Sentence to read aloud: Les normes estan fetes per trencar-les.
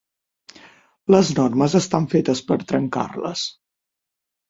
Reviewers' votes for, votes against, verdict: 9, 0, accepted